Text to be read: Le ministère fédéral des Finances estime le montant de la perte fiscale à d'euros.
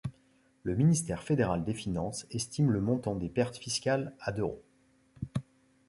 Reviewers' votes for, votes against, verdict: 1, 2, rejected